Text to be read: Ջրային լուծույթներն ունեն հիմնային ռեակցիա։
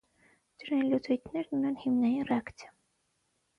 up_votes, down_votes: 3, 3